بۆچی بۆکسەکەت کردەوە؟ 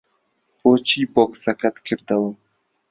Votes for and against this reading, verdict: 2, 0, accepted